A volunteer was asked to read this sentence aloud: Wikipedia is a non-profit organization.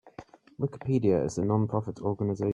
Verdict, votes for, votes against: rejected, 0, 2